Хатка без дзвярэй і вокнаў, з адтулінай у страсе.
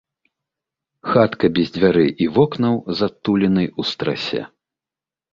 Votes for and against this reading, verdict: 2, 0, accepted